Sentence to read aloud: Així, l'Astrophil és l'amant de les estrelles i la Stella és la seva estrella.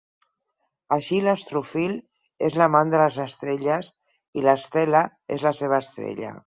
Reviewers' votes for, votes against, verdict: 4, 0, accepted